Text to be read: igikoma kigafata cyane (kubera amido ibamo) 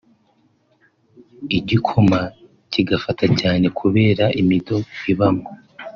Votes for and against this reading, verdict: 1, 2, rejected